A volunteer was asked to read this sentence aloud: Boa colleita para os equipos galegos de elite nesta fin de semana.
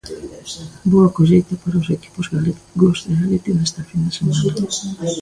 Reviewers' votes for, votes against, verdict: 0, 2, rejected